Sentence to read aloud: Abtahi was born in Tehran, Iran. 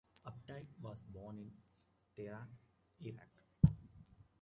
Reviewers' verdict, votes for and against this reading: rejected, 0, 2